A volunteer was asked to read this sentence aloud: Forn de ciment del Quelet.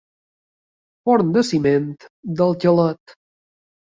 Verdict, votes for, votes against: rejected, 1, 2